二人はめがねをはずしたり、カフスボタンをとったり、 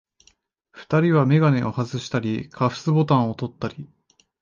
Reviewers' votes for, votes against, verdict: 1, 2, rejected